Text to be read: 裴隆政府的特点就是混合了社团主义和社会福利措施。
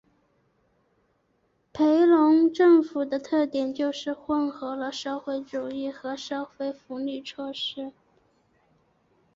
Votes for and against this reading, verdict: 4, 0, accepted